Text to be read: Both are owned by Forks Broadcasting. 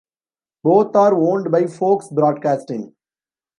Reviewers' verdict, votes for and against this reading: rejected, 2, 3